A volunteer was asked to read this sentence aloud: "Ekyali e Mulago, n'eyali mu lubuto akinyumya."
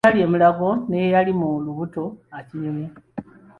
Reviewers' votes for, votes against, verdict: 0, 2, rejected